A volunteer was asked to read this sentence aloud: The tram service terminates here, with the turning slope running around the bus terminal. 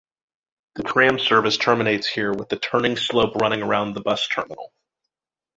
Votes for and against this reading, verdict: 1, 2, rejected